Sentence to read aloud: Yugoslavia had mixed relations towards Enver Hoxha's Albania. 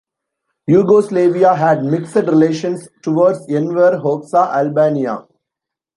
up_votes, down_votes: 1, 2